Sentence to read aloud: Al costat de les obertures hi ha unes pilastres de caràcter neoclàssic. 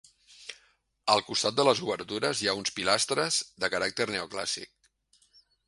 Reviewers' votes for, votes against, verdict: 1, 2, rejected